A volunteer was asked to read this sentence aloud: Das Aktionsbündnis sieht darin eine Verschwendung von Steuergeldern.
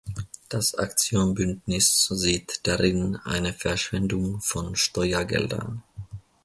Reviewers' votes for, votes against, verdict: 0, 2, rejected